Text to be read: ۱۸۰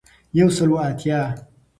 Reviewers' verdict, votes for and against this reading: rejected, 0, 2